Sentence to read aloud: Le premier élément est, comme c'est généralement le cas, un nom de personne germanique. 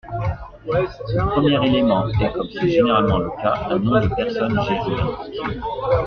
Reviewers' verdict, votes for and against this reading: rejected, 1, 2